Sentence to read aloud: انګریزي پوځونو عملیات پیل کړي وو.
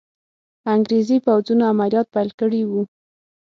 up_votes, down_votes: 6, 0